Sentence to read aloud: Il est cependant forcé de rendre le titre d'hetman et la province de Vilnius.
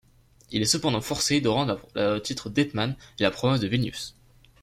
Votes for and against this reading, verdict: 0, 2, rejected